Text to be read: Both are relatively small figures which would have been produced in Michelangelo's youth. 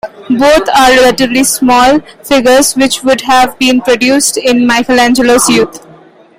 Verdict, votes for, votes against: accepted, 2, 0